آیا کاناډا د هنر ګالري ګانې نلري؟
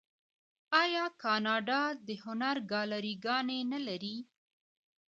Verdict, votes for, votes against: accepted, 2, 1